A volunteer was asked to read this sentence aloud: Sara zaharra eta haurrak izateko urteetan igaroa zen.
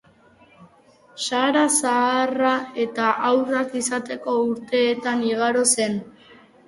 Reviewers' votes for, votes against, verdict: 1, 3, rejected